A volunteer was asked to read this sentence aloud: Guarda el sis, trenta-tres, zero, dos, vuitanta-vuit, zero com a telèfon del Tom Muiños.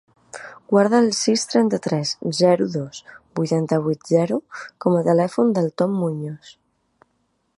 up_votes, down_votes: 2, 0